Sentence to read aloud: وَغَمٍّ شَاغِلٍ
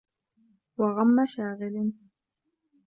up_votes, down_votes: 1, 2